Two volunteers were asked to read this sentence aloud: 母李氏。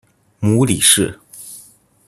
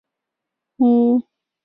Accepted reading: first